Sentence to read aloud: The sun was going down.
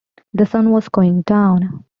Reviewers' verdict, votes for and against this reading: accepted, 2, 0